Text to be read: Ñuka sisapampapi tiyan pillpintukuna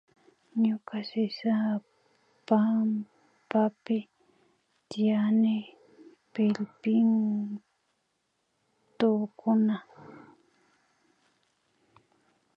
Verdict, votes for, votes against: rejected, 0, 2